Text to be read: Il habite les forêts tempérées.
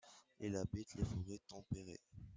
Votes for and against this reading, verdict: 2, 0, accepted